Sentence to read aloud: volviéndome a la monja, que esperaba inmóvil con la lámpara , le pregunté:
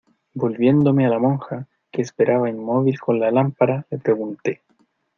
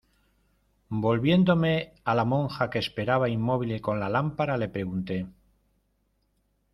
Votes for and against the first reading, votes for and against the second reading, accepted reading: 2, 0, 1, 2, first